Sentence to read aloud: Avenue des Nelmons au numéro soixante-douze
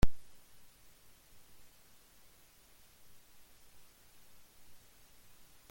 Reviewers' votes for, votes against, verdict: 0, 2, rejected